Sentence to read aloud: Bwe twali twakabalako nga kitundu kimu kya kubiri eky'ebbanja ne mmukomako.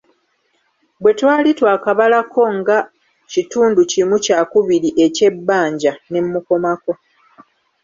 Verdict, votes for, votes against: rejected, 0, 2